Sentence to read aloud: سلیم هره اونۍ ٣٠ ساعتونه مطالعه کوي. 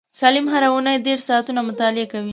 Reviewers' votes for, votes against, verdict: 0, 2, rejected